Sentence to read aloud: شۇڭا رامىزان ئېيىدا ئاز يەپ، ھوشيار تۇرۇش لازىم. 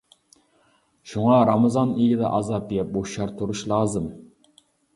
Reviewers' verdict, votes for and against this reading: rejected, 0, 2